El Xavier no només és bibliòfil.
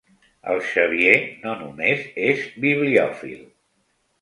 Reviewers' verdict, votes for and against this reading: accepted, 3, 0